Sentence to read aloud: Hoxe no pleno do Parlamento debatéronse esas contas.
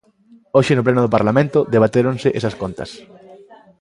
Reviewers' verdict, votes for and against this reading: accepted, 2, 0